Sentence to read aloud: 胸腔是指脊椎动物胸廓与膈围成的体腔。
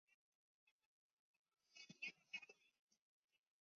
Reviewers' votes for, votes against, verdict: 0, 2, rejected